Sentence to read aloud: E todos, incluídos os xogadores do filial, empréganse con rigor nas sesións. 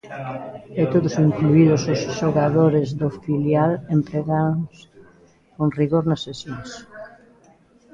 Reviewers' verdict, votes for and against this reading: rejected, 0, 2